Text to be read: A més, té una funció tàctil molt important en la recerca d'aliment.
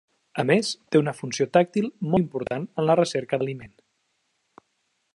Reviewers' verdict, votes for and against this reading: accepted, 3, 0